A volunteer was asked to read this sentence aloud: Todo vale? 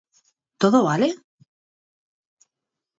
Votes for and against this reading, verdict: 4, 0, accepted